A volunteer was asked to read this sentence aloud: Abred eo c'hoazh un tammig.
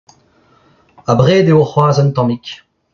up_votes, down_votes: 0, 2